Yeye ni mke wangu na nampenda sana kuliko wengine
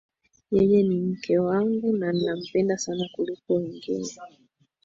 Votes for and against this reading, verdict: 7, 4, accepted